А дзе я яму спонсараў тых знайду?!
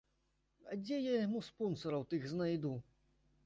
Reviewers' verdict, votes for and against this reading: accepted, 2, 0